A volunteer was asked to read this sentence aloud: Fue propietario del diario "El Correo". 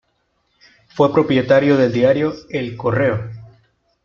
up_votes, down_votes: 2, 0